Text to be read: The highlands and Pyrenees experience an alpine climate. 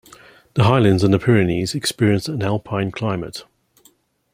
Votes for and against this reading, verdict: 0, 2, rejected